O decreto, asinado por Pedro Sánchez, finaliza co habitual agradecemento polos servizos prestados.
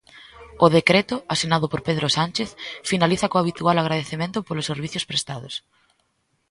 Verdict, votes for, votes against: rejected, 1, 2